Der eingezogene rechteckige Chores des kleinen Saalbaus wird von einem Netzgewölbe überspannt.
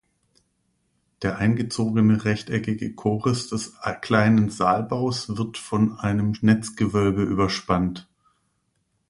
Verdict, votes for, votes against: rejected, 0, 2